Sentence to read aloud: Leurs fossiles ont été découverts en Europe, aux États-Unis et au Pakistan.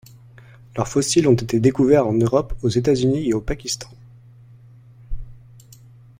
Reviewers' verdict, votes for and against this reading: accepted, 2, 0